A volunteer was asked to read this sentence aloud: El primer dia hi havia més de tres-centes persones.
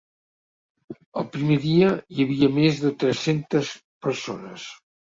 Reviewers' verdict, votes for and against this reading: accepted, 4, 0